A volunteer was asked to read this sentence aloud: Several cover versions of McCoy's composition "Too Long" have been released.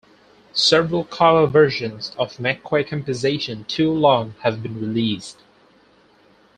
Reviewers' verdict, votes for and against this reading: accepted, 4, 0